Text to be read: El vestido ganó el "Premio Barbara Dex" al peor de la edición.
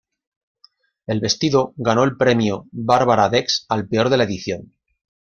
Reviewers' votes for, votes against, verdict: 2, 0, accepted